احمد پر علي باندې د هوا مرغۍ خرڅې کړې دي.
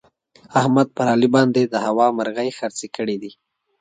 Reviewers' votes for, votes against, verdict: 2, 0, accepted